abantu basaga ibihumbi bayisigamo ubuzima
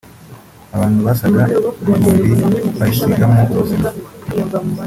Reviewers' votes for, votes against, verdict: 2, 1, accepted